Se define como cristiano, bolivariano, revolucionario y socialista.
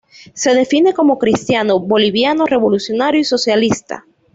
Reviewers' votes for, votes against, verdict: 1, 2, rejected